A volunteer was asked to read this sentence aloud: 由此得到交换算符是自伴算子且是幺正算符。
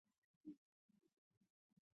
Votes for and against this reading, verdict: 2, 5, rejected